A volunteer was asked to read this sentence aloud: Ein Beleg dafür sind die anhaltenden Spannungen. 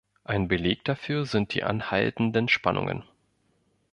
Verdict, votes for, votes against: accepted, 2, 0